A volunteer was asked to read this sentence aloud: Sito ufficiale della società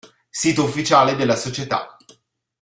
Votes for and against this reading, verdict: 2, 0, accepted